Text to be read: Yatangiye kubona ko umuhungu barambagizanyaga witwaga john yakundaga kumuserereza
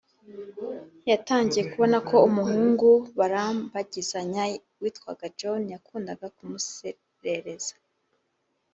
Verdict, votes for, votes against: accepted, 4, 0